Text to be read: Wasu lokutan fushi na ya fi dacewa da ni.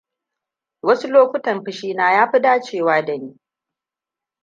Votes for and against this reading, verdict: 1, 2, rejected